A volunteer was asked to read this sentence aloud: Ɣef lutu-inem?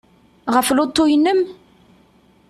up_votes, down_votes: 2, 0